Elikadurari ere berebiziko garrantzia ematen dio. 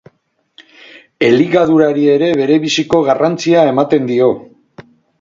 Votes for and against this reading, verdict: 2, 2, rejected